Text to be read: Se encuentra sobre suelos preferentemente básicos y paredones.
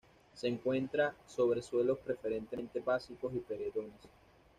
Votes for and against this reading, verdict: 1, 2, rejected